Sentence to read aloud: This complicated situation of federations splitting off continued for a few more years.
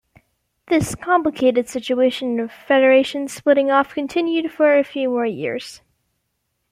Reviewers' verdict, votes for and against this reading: accepted, 2, 0